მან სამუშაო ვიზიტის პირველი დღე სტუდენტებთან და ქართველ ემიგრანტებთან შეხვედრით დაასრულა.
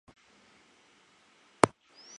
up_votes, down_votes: 0, 2